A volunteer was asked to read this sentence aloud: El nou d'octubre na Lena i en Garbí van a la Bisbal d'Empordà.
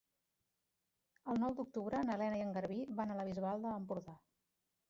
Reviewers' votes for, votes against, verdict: 0, 2, rejected